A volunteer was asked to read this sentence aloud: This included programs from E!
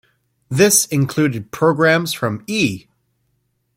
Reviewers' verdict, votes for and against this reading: accepted, 2, 0